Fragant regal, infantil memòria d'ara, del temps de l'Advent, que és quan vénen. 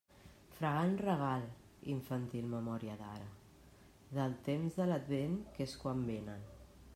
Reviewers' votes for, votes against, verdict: 3, 0, accepted